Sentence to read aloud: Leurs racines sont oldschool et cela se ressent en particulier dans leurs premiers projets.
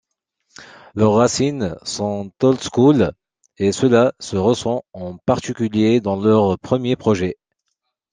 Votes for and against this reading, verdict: 2, 0, accepted